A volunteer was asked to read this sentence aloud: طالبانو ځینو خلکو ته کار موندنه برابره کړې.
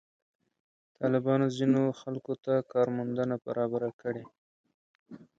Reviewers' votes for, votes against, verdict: 1, 2, rejected